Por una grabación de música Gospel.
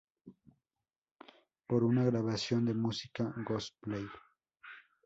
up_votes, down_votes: 2, 4